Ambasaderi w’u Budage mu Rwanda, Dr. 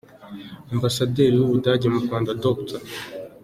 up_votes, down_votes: 2, 1